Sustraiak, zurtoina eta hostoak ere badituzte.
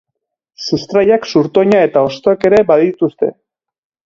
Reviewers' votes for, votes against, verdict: 2, 0, accepted